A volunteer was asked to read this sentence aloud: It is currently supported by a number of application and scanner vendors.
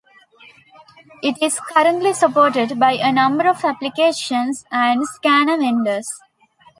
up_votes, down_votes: 2, 1